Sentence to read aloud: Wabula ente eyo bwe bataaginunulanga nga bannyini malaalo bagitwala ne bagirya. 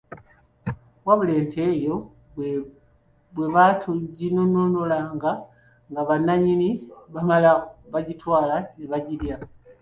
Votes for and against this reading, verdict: 0, 2, rejected